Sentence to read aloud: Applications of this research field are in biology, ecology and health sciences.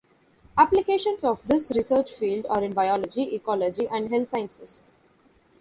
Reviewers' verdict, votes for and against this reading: accepted, 2, 0